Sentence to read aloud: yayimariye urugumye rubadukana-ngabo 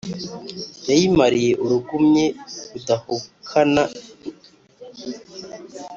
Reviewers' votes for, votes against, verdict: 1, 2, rejected